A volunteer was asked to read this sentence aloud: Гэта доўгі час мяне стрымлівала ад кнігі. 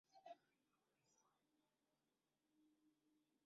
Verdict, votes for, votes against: rejected, 0, 2